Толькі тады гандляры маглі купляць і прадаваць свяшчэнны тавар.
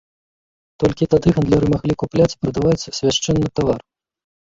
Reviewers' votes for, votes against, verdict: 1, 2, rejected